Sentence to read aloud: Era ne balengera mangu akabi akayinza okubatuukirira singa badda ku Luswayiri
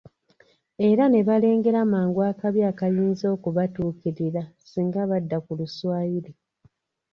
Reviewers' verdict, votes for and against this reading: accepted, 2, 0